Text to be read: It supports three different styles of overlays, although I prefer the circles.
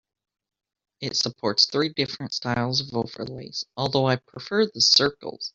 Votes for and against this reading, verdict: 2, 1, accepted